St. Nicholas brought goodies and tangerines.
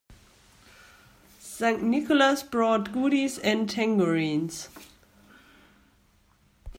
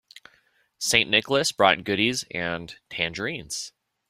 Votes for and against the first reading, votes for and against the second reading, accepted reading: 0, 2, 2, 0, second